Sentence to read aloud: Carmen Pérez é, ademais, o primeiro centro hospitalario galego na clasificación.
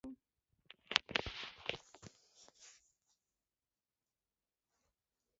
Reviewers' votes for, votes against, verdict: 0, 2, rejected